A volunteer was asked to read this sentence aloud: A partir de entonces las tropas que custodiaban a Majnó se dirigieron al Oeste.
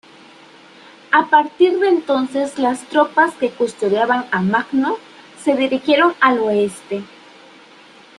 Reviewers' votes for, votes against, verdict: 0, 2, rejected